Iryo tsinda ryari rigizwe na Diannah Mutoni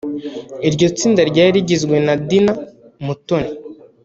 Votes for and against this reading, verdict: 1, 2, rejected